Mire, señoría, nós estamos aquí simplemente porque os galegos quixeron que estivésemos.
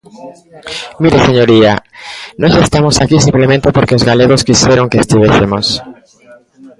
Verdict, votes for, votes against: accepted, 2, 0